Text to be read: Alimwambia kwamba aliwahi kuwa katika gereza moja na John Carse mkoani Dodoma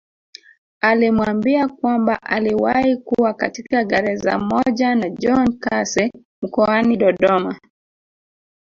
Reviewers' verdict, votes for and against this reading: accepted, 2, 0